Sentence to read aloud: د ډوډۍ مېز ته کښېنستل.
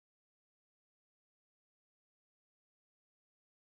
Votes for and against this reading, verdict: 0, 2, rejected